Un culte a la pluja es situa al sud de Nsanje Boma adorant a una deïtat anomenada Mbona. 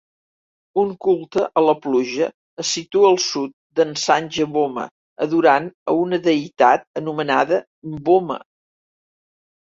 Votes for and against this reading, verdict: 0, 2, rejected